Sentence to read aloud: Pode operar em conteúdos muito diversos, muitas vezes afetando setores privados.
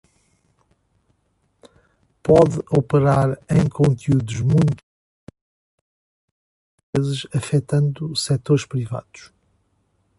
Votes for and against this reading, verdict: 0, 2, rejected